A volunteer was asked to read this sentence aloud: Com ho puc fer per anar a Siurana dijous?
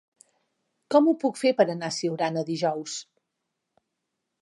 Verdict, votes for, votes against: accepted, 3, 0